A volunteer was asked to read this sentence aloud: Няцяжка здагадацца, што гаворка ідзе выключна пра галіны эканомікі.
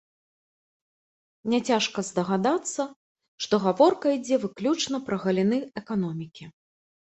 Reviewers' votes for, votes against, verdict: 2, 0, accepted